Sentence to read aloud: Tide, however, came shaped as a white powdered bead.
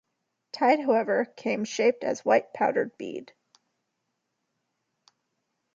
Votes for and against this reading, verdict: 2, 0, accepted